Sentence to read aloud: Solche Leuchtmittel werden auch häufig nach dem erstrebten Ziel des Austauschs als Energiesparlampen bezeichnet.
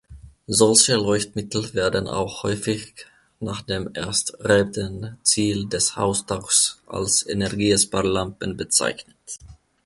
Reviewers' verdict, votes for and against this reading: rejected, 1, 2